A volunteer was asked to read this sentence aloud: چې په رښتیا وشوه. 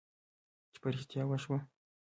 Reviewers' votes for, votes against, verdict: 2, 1, accepted